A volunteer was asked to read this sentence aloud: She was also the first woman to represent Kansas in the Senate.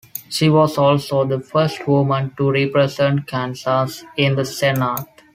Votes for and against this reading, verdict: 2, 1, accepted